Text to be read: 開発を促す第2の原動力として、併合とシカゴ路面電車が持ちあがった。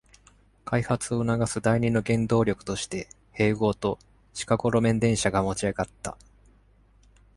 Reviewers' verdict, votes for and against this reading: rejected, 0, 2